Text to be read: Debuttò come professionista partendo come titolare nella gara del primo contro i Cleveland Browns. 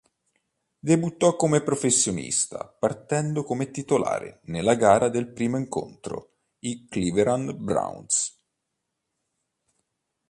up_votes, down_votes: 1, 2